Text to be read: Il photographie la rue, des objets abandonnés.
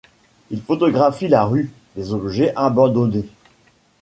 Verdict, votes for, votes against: accepted, 2, 0